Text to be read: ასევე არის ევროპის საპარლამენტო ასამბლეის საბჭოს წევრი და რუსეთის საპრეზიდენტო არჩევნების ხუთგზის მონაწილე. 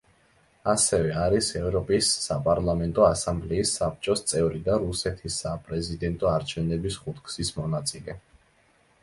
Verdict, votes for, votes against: accepted, 2, 0